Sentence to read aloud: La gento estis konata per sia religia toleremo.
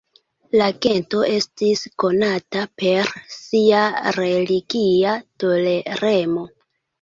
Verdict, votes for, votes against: accepted, 2, 1